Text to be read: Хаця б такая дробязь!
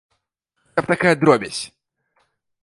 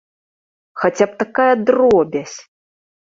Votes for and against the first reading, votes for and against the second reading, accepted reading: 0, 2, 2, 0, second